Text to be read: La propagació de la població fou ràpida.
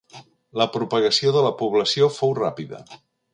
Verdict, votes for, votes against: accepted, 2, 0